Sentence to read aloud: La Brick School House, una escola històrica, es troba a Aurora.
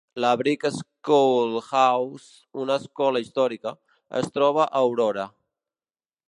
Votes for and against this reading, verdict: 0, 2, rejected